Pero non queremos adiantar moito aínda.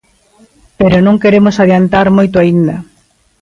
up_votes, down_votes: 2, 0